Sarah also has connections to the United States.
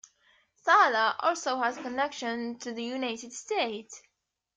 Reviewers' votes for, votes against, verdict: 2, 1, accepted